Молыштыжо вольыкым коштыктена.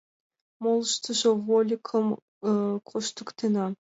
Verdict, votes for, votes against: accepted, 2, 1